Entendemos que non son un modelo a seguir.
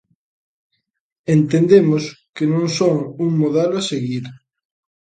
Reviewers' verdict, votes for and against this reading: accepted, 2, 0